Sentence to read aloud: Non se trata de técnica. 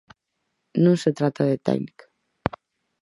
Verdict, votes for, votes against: accepted, 4, 0